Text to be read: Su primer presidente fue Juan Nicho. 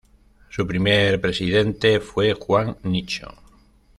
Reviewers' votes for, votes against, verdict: 2, 0, accepted